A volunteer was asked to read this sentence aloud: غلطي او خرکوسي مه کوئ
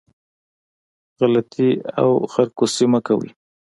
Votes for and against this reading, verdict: 2, 0, accepted